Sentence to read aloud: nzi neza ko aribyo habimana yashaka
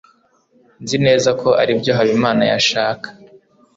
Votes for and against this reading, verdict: 2, 0, accepted